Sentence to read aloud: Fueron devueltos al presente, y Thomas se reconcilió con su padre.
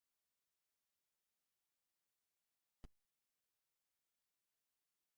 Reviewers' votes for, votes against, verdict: 1, 2, rejected